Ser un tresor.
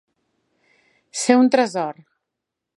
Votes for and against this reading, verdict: 2, 0, accepted